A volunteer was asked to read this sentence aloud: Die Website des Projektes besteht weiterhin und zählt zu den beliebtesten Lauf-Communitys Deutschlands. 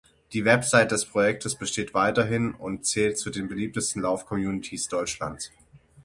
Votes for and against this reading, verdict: 6, 0, accepted